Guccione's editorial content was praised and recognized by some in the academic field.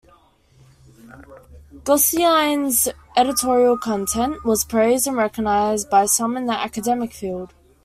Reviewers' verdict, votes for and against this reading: rejected, 2, 3